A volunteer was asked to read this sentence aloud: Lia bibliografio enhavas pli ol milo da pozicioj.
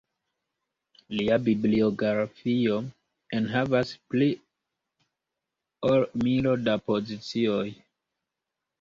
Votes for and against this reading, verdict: 1, 2, rejected